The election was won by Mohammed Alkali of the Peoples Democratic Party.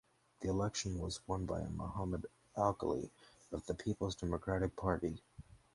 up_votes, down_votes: 4, 0